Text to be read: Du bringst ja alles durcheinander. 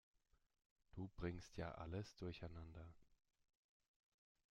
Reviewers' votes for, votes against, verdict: 2, 0, accepted